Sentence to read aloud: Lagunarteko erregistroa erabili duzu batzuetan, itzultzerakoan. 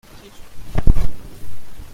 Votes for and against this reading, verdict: 0, 2, rejected